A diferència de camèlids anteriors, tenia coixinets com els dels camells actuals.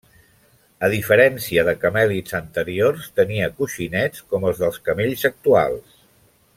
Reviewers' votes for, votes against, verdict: 2, 0, accepted